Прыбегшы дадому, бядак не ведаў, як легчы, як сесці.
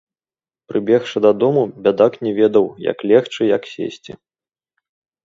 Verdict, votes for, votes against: rejected, 2, 3